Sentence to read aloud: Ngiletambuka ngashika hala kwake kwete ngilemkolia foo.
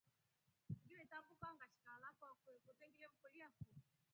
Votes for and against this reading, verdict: 2, 3, rejected